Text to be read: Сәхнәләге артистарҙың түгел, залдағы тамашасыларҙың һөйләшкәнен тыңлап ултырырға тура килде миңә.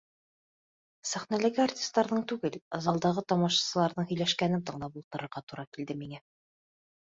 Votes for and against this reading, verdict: 1, 2, rejected